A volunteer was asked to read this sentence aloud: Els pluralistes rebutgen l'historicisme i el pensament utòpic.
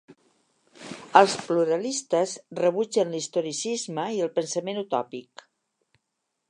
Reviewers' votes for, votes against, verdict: 3, 0, accepted